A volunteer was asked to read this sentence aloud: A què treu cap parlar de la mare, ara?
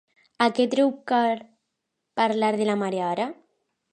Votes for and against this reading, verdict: 1, 2, rejected